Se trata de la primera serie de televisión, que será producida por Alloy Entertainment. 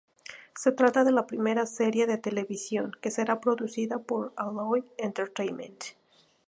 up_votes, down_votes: 2, 0